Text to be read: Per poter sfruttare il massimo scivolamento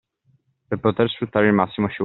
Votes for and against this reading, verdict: 0, 2, rejected